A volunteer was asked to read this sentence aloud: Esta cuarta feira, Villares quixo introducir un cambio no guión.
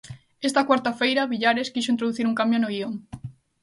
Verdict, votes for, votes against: accepted, 2, 0